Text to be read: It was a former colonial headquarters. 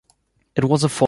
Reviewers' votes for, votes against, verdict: 0, 2, rejected